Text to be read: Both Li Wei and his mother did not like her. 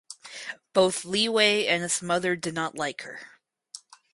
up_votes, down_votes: 4, 0